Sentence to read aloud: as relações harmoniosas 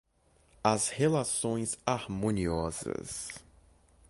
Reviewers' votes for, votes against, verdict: 2, 0, accepted